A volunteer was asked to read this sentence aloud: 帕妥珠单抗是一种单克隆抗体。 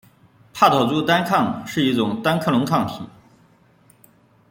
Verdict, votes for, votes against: accepted, 2, 0